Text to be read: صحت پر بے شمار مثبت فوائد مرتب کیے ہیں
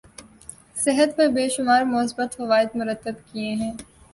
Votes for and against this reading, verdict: 11, 0, accepted